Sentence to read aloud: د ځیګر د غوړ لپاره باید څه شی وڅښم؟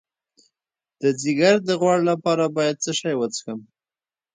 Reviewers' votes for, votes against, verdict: 1, 2, rejected